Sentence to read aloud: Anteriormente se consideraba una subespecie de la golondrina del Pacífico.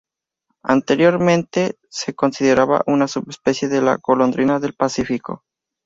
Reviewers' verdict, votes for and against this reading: accepted, 2, 0